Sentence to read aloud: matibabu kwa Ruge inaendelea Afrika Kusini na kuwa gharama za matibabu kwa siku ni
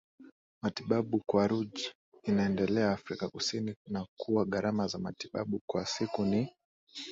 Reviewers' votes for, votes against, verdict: 6, 0, accepted